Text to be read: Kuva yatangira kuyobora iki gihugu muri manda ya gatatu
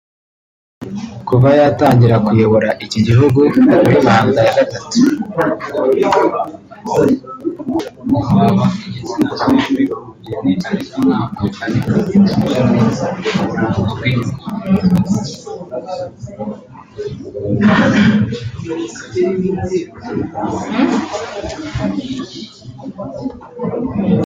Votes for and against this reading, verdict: 0, 2, rejected